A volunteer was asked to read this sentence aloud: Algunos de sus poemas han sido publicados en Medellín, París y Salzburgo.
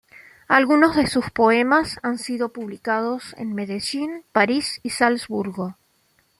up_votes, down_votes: 2, 0